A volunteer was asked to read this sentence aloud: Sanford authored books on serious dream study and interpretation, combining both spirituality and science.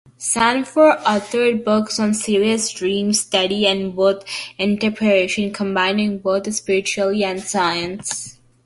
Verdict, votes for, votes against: rejected, 1, 2